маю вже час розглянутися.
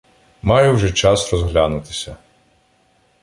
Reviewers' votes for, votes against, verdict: 2, 0, accepted